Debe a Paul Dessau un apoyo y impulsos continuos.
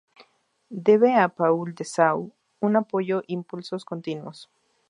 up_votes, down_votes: 0, 2